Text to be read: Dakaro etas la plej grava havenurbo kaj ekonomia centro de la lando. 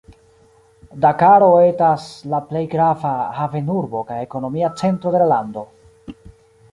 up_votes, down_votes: 2, 0